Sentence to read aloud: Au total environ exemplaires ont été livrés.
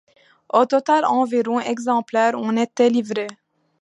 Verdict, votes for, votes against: rejected, 0, 2